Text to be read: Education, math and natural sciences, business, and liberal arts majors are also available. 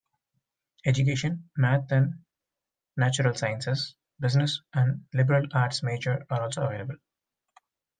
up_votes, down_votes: 2, 1